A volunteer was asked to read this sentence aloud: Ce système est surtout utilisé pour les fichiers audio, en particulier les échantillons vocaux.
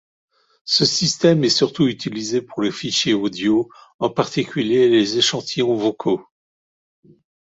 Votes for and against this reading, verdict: 2, 1, accepted